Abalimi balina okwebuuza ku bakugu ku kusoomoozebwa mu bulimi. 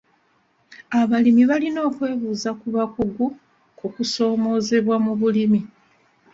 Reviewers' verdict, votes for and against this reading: accepted, 2, 0